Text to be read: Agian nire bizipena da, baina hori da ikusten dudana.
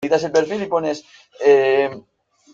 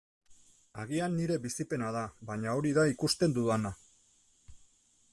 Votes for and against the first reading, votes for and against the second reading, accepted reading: 0, 2, 2, 0, second